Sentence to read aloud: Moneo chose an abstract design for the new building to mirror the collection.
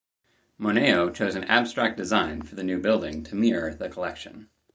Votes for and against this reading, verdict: 4, 0, accepted